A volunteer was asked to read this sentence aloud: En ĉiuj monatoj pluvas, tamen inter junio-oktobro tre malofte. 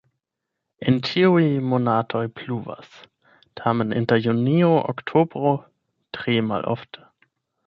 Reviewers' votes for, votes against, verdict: 0, 8, rejected